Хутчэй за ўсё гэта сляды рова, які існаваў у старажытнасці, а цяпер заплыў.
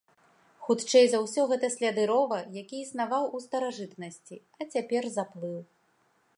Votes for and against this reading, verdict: 2, 0, accepted